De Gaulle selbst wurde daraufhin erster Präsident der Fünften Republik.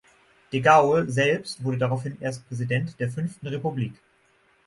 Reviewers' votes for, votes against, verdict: 3, 3, rejected